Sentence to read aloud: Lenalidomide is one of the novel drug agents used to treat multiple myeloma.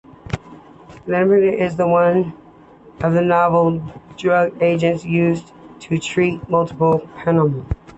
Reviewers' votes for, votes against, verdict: 0, 2, rejected